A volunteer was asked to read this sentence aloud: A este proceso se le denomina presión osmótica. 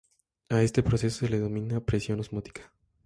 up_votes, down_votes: 2, 0